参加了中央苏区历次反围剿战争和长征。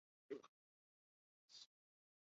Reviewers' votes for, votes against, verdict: 0, 2, rejected